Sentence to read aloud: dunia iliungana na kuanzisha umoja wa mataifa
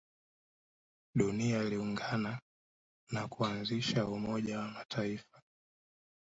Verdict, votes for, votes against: rejected, 0, 2